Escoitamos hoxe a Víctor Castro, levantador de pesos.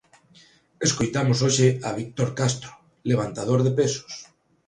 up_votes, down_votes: 2, 0